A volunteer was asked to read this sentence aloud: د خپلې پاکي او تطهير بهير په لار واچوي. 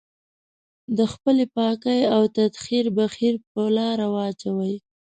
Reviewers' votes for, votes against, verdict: 0, 2, rejected